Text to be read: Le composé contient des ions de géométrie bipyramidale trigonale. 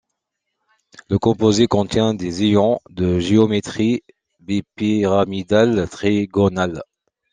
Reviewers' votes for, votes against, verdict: 2, 1, accepted